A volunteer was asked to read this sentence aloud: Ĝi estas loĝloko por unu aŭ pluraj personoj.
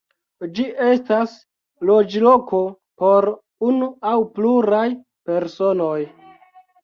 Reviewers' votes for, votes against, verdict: 2, 0, accepted